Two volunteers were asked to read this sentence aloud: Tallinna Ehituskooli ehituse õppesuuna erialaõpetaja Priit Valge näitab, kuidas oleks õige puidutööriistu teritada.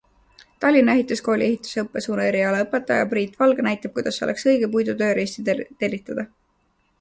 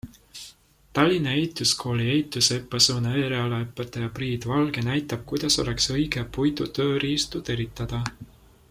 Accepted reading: second